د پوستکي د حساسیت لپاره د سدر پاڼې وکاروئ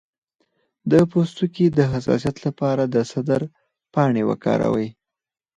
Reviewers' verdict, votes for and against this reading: accepted, 4, 0